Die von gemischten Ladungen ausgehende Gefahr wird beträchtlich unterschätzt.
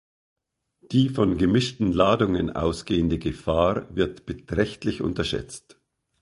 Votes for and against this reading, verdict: 2, 0, accepted